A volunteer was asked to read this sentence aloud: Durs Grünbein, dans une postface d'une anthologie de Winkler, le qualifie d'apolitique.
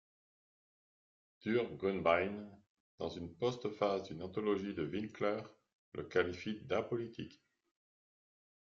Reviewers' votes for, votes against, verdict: 2, 0, accepted